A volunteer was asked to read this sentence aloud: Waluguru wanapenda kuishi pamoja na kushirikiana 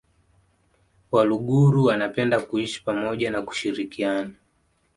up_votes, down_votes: 2, 0